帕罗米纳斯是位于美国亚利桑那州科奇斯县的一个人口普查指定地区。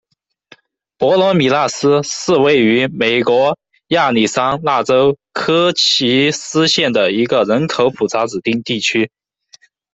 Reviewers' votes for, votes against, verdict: 0, 2, rejected